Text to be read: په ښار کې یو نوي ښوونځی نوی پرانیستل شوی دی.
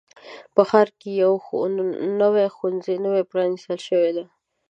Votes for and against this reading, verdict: 2, 1, accepted